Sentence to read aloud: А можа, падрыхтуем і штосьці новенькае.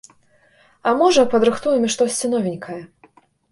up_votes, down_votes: 2, 0